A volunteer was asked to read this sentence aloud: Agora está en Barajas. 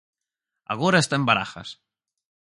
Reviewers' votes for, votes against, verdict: 4, 0, accepted